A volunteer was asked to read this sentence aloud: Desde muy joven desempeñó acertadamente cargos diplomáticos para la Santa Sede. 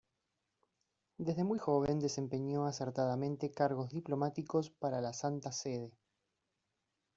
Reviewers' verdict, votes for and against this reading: rejected, 1, 2